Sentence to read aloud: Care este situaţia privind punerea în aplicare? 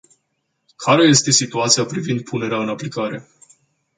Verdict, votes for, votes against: accepted, 2, 0